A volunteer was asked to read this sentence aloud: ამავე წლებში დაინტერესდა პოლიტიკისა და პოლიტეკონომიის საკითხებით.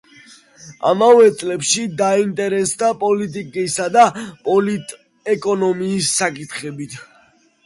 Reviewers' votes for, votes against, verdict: 2, 0, accepted